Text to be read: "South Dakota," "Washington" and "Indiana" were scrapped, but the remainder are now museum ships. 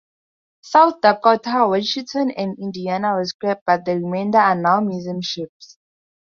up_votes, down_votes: 2, 2